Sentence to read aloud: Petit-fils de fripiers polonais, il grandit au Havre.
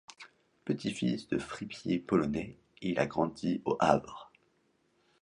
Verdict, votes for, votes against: rejected, 1, 2